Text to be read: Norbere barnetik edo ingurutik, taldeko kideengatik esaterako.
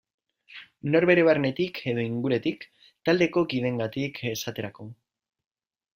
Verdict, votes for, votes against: rejected, 0, 2